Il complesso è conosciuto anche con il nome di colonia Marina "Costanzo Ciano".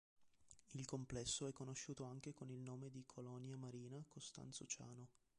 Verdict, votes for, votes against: rejected, 1, 2